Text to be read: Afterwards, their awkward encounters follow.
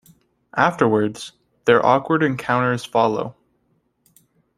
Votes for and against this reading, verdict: 2, 0, accepted